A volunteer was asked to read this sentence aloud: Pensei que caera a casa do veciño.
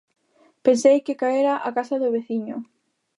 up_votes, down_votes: 2, 0